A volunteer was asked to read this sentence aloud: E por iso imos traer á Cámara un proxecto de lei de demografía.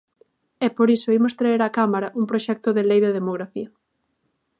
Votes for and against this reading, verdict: 3, 0, accepted